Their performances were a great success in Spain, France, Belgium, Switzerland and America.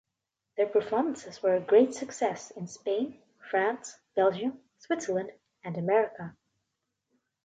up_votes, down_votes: 2, 0